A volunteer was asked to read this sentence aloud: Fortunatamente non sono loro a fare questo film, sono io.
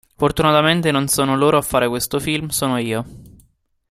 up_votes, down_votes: 2, 0